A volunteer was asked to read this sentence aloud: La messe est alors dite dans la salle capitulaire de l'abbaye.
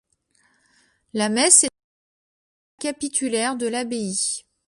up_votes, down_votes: 1, 2